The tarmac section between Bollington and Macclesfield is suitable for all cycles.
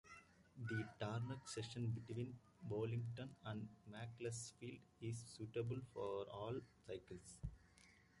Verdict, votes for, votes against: accepted, 2, 1